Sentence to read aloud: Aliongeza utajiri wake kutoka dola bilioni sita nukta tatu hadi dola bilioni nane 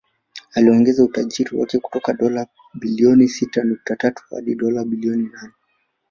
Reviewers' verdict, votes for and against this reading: accepted, 3, 0